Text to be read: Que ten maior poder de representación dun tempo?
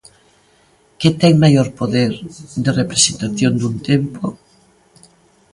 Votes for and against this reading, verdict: 2, 0, accepted